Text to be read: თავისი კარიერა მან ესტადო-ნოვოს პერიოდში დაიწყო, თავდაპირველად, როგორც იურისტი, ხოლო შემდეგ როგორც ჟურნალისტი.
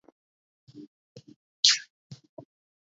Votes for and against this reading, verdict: 0, 2, rejected